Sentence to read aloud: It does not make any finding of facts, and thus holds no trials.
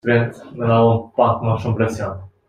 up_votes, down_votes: 0, 2